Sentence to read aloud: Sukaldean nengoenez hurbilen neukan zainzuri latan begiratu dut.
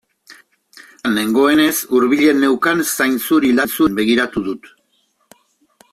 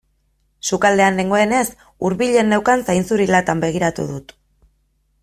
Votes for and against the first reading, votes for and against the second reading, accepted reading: 0, 2, 2, 0, second